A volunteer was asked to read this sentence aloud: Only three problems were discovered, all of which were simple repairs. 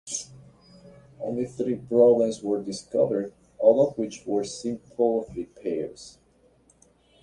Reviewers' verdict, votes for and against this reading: accepted, 3, 0